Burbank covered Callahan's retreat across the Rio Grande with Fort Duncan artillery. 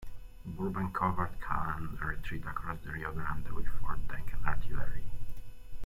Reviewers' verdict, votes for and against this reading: accepted, 2, 0